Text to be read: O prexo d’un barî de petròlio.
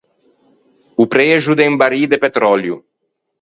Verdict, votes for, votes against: rejected, 2, 4